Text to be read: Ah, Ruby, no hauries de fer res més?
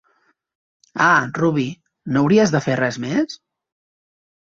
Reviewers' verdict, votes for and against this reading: accepted, 2, 0